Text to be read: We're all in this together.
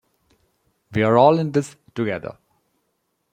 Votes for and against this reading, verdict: 2, 0, accepted